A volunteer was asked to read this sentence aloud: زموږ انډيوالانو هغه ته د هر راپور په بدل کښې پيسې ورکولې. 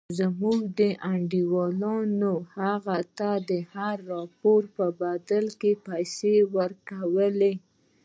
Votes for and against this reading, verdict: 2, 1, accepted